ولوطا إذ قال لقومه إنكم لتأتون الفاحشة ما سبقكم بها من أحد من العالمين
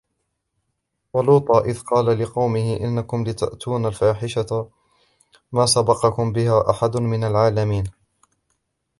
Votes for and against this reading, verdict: 0, 3, rejected